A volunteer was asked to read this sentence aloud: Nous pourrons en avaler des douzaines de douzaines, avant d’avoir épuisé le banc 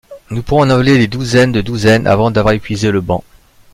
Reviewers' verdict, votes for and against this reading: rejected, 1, 2